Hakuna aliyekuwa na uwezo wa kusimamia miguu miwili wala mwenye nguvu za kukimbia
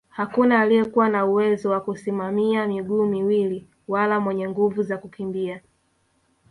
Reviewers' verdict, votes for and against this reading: rejected, 1, 2